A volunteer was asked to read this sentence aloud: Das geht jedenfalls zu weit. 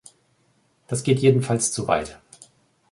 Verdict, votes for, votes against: accepted, 2, 0